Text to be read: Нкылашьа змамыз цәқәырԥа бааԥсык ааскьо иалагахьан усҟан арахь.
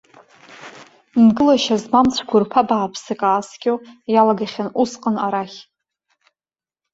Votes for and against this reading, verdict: 2, 0, accepted